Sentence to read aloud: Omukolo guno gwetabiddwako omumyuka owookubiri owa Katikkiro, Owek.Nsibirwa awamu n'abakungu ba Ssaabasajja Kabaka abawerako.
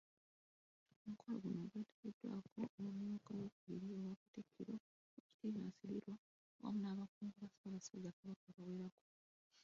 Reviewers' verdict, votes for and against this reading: rejected, 1, 2